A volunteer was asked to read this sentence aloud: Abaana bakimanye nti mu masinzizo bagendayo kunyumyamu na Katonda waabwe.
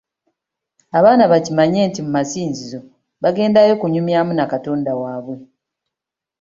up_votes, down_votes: 3, 1